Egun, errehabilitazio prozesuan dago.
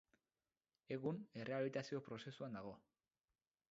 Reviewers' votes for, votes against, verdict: 0, 2, rejected